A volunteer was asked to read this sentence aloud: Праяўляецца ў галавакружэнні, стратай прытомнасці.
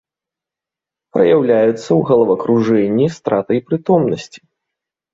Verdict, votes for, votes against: accepted, 2, 1